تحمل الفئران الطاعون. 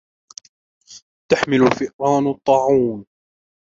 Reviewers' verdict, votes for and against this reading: rejected, 1, 2